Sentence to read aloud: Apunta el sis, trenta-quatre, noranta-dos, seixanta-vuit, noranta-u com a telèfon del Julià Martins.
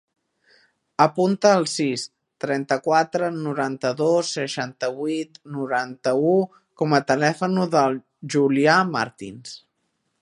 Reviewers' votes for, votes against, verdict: 1, 2, rejected